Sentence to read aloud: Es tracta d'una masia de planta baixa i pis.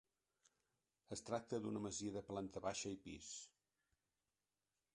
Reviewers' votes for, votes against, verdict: 3, 0, accepted